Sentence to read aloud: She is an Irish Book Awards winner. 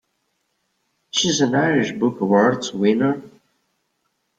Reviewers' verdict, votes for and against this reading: rejected, 1, 2